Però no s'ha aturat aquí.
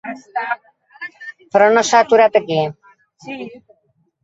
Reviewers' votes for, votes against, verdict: 2, 1, accepted